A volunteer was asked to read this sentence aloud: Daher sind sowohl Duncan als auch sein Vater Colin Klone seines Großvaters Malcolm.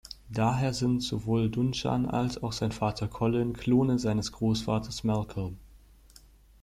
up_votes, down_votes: 1, 2